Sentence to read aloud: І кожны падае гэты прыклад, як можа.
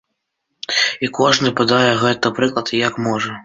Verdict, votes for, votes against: accepted, 2, 1